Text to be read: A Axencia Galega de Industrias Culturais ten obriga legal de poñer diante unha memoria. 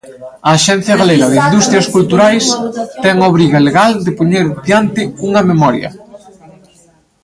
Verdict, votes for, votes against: rejected, 0, 2